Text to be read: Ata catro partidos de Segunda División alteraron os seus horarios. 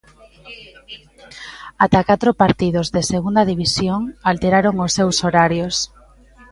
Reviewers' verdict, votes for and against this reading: accepted, 3, 0